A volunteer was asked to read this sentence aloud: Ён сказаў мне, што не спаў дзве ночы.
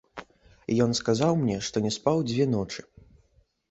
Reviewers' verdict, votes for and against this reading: accepted, 2, 1